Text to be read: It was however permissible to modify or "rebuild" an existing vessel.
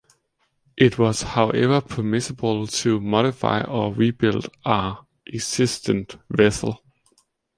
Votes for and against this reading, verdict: 0, 2, rejected